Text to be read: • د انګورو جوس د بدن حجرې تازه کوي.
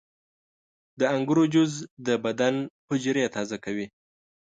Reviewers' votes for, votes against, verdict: 2, 0, accepted